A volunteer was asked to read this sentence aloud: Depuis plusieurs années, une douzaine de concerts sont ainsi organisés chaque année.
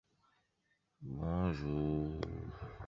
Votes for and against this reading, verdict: 1, 2, rejected